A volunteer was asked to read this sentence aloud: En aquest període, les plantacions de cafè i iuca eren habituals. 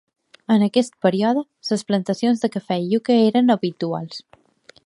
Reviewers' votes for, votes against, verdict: 2, 1, accepted